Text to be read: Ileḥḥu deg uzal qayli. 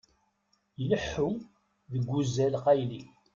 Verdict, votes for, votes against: rejected, 0, 2